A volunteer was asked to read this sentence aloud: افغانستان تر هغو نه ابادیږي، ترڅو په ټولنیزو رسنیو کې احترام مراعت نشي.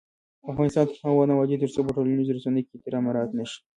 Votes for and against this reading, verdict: 0, 2, rejected